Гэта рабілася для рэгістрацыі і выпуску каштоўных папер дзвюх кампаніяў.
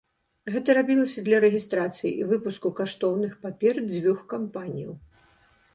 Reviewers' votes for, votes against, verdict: 2, 0, accepted